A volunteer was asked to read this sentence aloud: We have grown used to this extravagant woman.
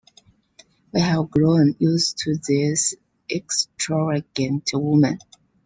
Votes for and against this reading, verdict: 1, 2, rejected